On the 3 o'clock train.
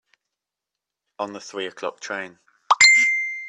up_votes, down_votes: 0, 2